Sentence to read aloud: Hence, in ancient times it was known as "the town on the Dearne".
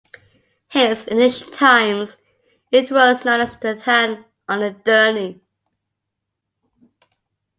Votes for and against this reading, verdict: 1, 2, rejected